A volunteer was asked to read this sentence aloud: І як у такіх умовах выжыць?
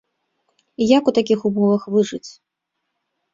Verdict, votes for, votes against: accepted, 2, 0